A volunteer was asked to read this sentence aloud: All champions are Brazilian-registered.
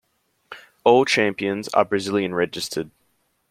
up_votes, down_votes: 2, 0